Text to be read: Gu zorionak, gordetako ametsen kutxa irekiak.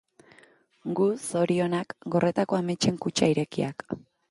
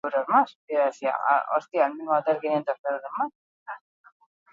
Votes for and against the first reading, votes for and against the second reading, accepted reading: 2, 0, 0, 4, first